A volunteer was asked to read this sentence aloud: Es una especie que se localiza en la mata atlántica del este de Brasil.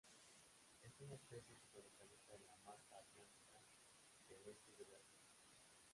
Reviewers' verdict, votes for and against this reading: rejected, 1, 4